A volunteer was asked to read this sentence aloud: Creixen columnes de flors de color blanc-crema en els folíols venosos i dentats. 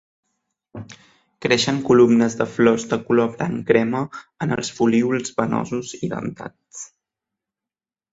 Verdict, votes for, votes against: rejected, 1, 2